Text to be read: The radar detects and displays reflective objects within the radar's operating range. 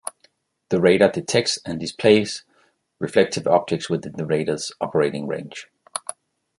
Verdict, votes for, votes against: accepted, 2, 0